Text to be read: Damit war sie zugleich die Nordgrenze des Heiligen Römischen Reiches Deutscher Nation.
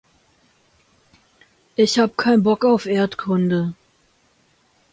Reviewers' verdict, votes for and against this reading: rejected, 0, 2